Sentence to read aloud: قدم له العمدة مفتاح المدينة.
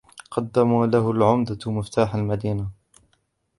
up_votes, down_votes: 0, 2